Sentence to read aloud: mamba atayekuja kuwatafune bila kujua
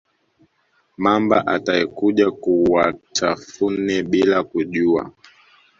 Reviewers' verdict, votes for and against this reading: accepted, 2, 0